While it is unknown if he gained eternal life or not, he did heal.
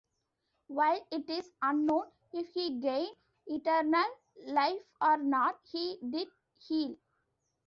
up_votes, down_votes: 2, 0